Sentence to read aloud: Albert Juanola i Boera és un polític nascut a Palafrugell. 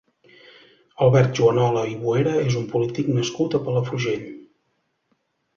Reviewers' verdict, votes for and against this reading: accepted, 2, 0